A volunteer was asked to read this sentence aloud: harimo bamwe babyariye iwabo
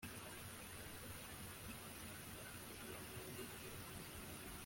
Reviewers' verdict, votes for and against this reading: rejected, 0, 2